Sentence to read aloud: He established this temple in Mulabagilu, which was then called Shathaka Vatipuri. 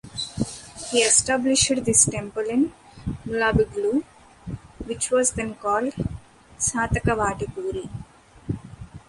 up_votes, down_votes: 2, 0